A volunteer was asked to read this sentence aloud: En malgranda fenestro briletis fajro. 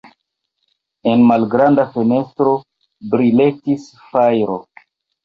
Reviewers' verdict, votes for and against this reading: rejected, 2, 2